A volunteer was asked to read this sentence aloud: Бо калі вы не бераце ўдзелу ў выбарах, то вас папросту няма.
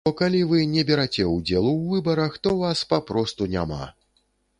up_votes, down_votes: 0, 2